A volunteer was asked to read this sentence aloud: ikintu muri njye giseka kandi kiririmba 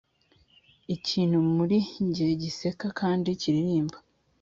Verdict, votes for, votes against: accepted, 3, 0